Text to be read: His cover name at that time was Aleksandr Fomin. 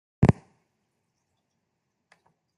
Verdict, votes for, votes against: rejected, 0, 2